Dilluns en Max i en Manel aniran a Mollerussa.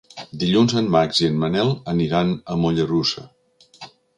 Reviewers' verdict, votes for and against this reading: accepted, 3, 0